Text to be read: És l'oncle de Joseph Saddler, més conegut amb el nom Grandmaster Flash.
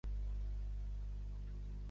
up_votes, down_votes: 1, 2